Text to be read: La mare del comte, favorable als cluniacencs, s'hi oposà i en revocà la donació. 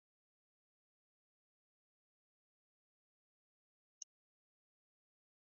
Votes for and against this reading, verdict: 0, 2, rejected